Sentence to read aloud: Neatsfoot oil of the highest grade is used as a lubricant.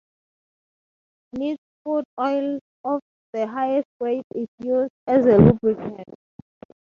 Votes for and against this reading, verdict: 3, 6, rejected